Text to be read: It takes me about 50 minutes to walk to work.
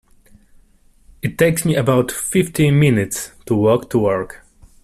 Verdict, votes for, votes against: rejected, 0, 2